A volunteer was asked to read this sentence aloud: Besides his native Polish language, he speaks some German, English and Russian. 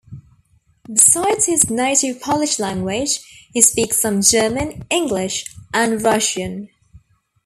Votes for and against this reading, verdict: 0, 2, rejected